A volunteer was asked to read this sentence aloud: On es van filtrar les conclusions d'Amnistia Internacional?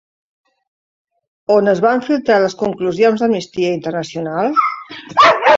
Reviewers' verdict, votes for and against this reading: rejected, 1, 2